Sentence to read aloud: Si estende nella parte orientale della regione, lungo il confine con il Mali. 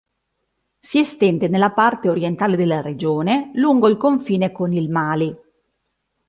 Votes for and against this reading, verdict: 2, 0, accepted